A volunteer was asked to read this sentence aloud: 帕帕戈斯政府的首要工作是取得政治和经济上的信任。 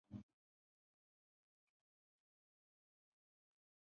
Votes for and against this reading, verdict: 0, 3, rejected